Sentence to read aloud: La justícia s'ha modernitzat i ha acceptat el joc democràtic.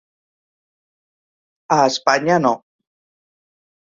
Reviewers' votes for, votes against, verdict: 0, 3, rejected